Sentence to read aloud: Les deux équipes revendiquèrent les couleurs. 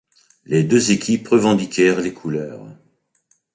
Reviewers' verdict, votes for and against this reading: accepted, 2, 0